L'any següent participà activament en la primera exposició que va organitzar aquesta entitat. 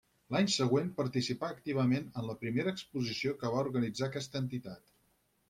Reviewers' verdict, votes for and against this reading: accepted, 6, 0